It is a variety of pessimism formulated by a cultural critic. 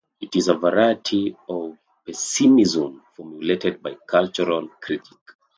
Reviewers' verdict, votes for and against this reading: accepted, 2, 0